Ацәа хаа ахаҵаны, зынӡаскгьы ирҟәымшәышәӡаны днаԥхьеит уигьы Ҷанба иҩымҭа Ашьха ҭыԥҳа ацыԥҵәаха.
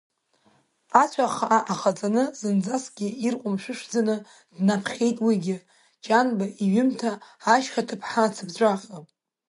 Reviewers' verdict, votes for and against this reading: rejected, 1, 2